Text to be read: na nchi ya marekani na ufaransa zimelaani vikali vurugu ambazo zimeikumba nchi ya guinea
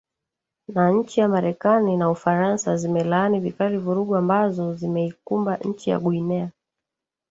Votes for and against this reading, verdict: 4, 2, accepted